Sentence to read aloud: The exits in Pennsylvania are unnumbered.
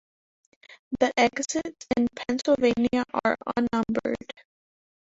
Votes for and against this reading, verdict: 0, 2, rejected